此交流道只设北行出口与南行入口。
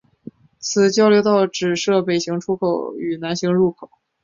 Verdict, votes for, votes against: rejected, 1, 2